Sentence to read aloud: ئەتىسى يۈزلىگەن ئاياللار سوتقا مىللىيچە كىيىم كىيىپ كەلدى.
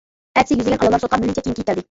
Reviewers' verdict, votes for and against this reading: rejected, 0, 2